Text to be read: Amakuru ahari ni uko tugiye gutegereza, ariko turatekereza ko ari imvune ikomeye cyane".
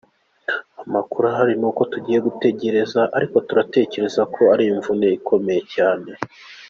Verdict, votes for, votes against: accepted, 2, 1